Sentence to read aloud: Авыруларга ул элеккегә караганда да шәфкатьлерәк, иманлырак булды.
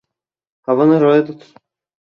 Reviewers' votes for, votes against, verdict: 0, 2, rejected